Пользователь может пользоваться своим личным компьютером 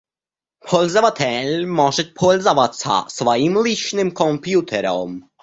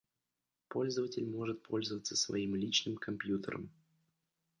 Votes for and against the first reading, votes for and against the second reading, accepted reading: 0, 2, 2, 1, second